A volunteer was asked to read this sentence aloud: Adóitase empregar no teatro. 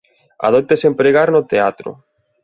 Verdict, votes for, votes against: accepted, 2, 0